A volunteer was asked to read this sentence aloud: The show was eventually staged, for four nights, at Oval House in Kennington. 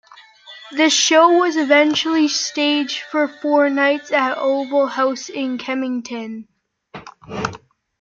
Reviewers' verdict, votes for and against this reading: accepted, 2, 0